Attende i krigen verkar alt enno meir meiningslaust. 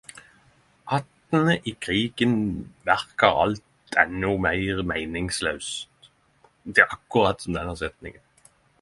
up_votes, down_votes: 5, 10